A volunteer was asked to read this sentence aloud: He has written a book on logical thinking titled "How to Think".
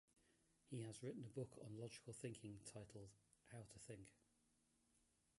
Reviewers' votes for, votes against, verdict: 0, 4, rejected